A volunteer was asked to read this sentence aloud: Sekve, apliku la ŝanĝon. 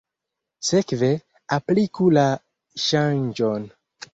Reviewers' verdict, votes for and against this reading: accepted, 2, 0